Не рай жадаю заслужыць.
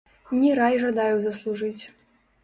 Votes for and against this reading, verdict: 0, 2, rejected